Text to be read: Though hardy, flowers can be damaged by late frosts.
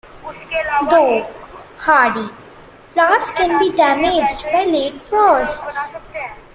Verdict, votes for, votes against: rejected, 1, 2